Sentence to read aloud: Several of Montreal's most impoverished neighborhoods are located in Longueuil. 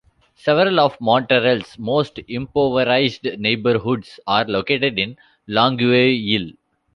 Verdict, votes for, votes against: rejected, 0, 2